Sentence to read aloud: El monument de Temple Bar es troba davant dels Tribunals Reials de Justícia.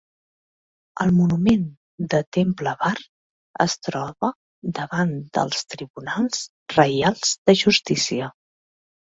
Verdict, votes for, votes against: accepted, 3, 0